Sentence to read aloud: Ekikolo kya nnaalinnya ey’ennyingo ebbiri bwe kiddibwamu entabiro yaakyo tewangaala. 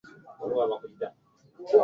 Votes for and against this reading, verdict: 0, 2, rejected